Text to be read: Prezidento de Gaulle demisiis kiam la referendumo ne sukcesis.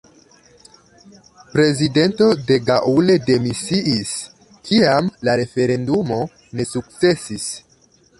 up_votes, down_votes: 2, 1